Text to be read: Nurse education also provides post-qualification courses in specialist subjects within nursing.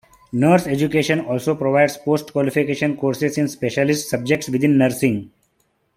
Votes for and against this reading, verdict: 2, 1, accepted